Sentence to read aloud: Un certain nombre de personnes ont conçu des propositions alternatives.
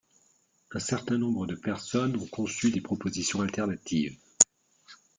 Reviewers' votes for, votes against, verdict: 2, 0, accepted